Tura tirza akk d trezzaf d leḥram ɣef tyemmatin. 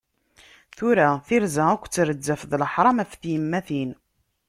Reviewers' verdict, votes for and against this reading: accepted, 2, 0